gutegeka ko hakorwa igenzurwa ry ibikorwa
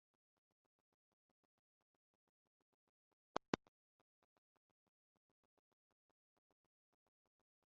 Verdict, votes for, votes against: rejected, 0, 2